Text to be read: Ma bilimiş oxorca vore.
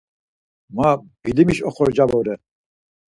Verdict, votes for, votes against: accepted, 4, 0